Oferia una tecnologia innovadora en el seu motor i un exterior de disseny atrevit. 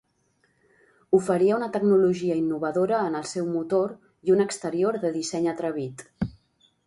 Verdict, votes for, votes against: accepted, 2, 0